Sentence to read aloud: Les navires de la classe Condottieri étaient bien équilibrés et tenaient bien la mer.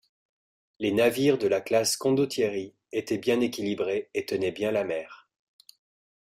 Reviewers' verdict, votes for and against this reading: accepted, 2, 0